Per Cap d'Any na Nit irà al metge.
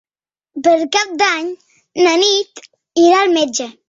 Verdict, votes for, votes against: accepted, 5, 0